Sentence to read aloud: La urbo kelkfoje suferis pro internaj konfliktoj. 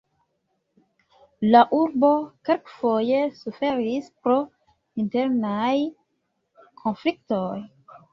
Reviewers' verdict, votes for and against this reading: rejected, 1, 2